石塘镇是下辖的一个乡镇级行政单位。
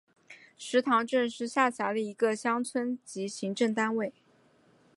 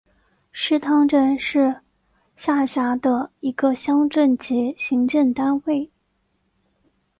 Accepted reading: second